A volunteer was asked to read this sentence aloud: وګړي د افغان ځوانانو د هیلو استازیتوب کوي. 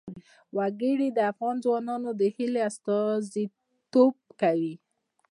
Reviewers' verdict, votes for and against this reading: rejected, 1, 2